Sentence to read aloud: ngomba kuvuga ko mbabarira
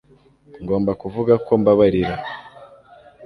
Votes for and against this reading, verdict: 2, 0, accepted